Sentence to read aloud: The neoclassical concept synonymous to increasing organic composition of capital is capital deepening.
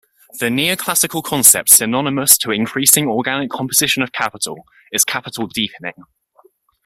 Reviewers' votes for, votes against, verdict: 2, 1, accepted